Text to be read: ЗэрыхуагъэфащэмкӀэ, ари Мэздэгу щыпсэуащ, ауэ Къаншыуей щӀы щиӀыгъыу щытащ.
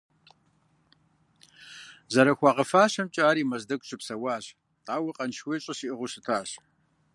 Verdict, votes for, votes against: accepted, 2, 0